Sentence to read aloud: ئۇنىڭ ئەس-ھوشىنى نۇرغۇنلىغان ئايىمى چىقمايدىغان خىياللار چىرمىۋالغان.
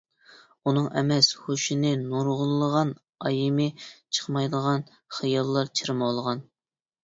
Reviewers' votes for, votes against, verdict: 0, 2, rejected